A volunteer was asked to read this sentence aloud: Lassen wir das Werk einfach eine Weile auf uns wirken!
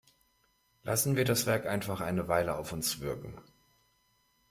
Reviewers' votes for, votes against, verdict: 2, 0, accepted